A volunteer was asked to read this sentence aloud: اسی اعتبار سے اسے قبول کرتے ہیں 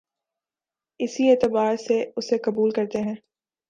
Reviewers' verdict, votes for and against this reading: accepted, 2, 0